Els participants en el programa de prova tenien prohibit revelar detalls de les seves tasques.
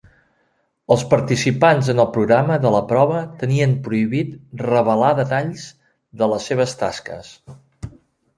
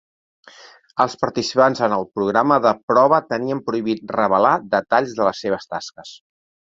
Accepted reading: second